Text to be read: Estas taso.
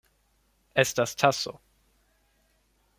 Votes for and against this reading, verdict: 2, 0, accepted